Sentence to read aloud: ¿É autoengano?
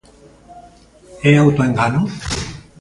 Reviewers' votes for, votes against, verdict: 0, 2, rejected